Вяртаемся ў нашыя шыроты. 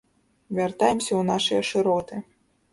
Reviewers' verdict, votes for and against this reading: accepted, 2, 0